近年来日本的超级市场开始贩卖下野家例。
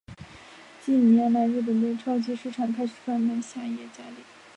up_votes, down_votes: 0, 2